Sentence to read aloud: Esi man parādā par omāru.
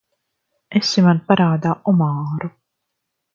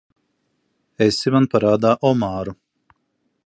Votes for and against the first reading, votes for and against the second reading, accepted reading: 0, 2, 2, 1, second